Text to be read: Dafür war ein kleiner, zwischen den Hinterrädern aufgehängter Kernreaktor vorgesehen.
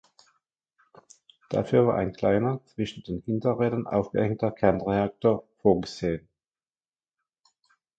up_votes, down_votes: 2, 0